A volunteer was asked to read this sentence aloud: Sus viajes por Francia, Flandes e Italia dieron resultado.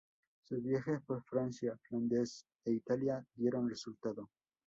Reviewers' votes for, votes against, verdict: 2, 0, accepted